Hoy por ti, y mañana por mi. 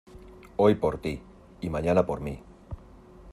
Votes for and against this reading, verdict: 2, 0, accepted